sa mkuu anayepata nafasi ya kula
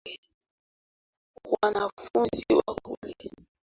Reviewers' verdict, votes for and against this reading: rejected, 0, 2